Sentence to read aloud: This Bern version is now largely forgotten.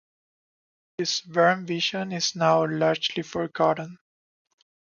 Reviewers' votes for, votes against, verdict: 2, 1, accepted